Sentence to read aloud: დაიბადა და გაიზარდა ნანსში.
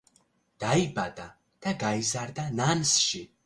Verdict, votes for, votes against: accepted, 2, 0